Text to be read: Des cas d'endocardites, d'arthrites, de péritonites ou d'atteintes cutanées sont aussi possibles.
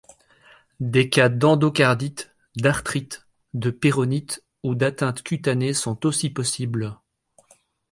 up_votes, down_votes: 0, 2